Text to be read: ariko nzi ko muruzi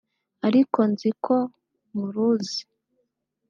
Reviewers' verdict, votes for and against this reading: accepted, 3, 0